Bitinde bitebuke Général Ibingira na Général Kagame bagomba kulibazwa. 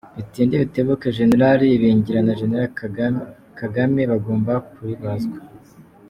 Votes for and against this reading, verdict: 0, 2, rejected